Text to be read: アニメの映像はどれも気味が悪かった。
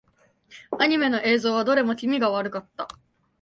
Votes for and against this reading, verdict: 3, 0, accepted